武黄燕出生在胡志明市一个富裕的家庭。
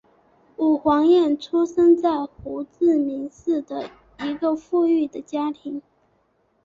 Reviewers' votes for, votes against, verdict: 2, 3, rejected